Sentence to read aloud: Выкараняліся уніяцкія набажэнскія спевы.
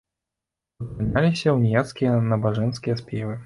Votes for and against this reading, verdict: 0, 2, rejected